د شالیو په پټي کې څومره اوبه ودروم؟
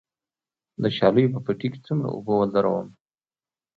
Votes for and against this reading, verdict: 2, 0, accepted